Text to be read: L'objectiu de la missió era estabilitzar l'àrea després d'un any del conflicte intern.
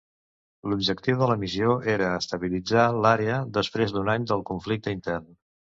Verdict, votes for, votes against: accepted, 2, 0